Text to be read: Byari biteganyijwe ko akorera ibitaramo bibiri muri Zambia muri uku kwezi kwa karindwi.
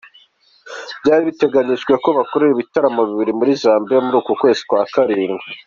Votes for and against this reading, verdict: 1, 2, rejected